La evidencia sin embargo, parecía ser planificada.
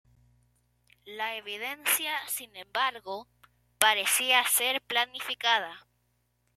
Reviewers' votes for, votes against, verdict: 0, 2, rejected